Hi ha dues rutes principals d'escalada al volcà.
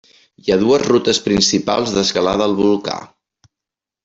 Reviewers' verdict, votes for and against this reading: accepted, 3, 0